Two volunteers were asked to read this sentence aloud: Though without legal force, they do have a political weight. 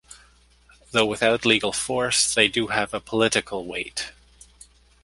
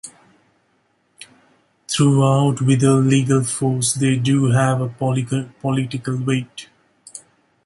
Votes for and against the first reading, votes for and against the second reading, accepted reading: 2, 0, 0, 3, first